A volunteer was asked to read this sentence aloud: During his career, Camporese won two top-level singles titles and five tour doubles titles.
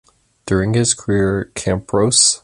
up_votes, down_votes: 0, 2